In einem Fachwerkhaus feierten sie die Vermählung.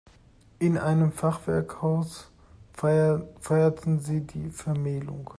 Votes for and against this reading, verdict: 1, 2, rejected